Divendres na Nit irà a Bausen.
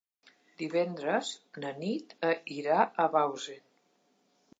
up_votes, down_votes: 1, 2